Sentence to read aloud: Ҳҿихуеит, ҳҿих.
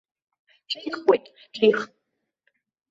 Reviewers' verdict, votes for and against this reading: rejected, 0, 2